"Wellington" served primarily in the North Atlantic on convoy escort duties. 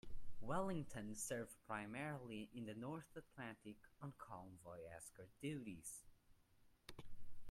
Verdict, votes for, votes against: rejected, 0, 2